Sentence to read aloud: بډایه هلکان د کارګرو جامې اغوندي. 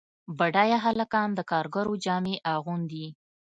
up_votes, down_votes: 3, 0